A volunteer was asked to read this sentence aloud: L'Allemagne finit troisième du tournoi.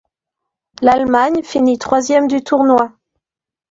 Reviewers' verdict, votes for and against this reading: accepted, 2, 0